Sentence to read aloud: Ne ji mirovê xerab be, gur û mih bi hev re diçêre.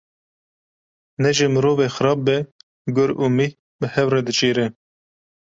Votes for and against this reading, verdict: 2, 0, accepted